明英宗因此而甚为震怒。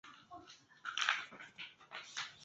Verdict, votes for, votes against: rejected, 1, 2